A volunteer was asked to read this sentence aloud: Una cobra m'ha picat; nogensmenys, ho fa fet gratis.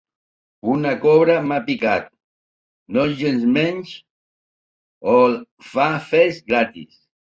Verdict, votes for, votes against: rejected, 1, 2